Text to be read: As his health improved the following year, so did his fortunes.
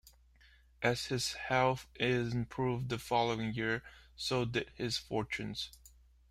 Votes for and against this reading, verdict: 0, 2, rejected